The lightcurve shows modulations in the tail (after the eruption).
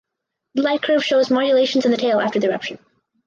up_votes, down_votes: 2, 2